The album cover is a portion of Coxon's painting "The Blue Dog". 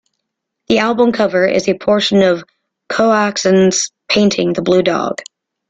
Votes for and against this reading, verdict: 0, 2, rejected